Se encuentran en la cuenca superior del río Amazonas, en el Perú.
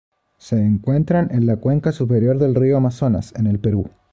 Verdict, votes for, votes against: accepted, 2, 0